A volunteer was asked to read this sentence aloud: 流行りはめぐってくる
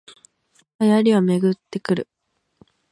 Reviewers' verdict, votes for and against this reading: accepted, 2, 0